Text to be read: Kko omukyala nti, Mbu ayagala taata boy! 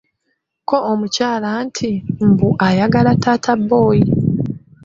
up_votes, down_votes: 3, 0